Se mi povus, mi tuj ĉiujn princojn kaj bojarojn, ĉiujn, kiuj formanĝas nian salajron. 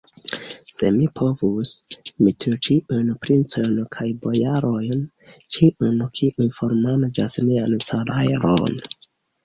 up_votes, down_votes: 1, 2